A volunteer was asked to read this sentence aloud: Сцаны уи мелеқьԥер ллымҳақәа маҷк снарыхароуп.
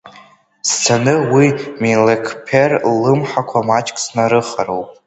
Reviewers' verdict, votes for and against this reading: rejected, 0, 2